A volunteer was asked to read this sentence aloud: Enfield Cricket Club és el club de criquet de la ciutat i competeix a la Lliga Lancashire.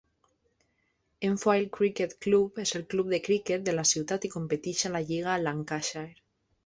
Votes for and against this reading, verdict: 0, 2, rejected